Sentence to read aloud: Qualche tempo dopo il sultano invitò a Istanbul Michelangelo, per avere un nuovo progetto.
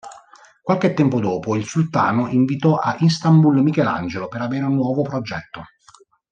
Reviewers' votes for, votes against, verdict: 2, 0, accepted